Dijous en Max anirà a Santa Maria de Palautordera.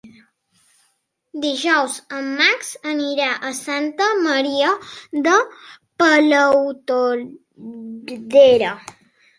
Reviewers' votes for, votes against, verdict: 1, 2, rejected